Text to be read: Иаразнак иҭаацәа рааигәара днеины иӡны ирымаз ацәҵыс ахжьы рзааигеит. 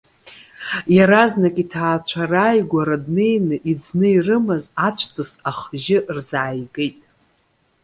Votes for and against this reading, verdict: 2, 0, accepted